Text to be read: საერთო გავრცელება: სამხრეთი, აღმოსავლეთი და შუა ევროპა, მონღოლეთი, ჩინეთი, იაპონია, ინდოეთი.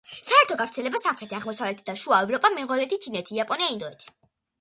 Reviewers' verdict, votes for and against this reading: accepted, 2, 0